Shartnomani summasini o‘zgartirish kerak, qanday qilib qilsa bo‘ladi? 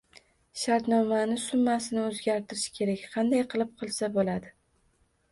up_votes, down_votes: 1, 2